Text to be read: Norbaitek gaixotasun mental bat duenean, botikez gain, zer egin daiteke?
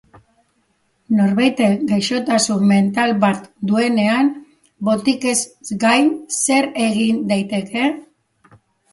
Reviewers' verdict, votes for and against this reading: accepted, 3, 0